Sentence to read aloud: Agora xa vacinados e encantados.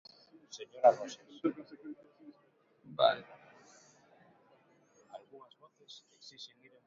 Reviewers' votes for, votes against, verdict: 0, 2, rejected